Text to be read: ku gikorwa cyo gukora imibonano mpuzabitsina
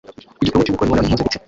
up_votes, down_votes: 0, 2